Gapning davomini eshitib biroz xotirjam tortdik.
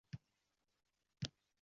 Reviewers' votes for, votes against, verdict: 0, 2, rejected